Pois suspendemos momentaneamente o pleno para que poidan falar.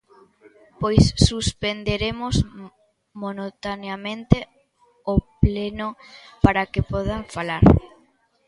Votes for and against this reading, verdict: 0, 2, rejected